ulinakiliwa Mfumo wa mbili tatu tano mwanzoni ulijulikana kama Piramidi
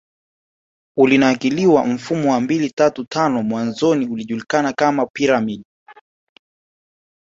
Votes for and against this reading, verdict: 1, 2, rejected